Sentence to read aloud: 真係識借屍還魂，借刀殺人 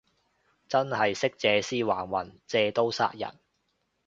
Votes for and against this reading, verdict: 2, 0, accepted